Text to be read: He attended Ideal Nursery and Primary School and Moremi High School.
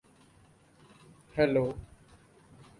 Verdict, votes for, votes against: rejected, 0, 2